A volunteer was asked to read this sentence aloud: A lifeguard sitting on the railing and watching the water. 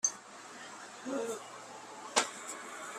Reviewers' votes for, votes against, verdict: 0, 3, rejected